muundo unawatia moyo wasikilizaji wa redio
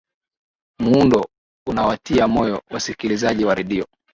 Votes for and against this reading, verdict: 4, 1, accepted